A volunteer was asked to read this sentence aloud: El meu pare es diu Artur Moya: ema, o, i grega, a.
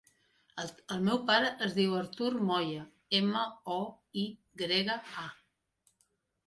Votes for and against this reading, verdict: 0, 2, rejected